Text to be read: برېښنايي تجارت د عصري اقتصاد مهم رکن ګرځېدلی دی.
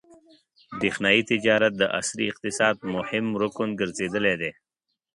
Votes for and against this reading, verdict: 2, 0, accepted